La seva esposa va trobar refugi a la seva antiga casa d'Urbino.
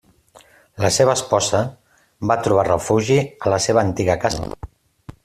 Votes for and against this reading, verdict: 0, 2, rejected